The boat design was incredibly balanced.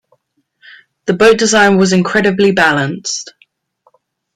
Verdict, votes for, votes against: accepted, 2, 0